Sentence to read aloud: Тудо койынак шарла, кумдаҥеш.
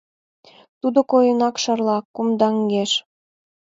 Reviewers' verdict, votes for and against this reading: accepted, 2, 0